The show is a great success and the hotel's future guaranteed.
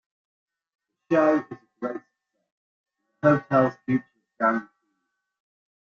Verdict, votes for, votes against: rejected, 0, 2